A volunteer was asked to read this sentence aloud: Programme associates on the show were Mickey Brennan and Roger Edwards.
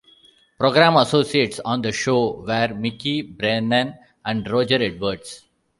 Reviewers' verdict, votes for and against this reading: accepted, 2, 0